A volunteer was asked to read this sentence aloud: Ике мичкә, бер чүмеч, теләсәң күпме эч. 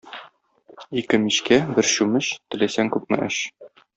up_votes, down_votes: 2, 0